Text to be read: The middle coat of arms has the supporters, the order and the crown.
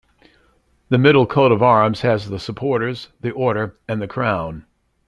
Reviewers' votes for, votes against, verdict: 2, 0, accepted